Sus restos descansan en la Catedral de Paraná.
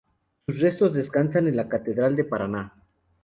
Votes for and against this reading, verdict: 2, 0, accepted